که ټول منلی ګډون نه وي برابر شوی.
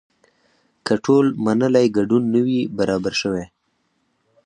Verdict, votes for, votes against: accepted, 4, 0